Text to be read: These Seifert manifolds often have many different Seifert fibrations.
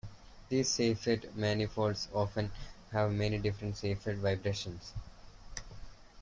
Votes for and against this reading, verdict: 2, 0, accepted